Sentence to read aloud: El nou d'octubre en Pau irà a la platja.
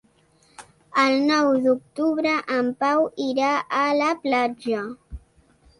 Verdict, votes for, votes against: accepted, 3, 0